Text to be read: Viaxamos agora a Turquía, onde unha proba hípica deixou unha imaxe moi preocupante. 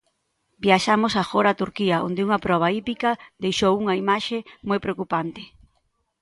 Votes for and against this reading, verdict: 2, 0, accepted